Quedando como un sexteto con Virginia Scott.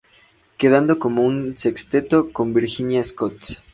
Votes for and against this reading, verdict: 2, 0, accepted